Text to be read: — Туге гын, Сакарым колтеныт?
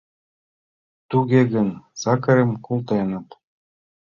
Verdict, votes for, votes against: rejected, 1, 2